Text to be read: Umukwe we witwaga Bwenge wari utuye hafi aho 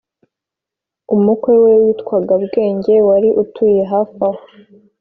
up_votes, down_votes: 2, 0